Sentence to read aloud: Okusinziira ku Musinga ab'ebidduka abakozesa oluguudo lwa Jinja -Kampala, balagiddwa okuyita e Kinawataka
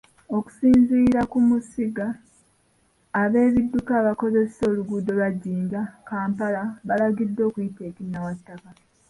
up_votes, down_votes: 1, 2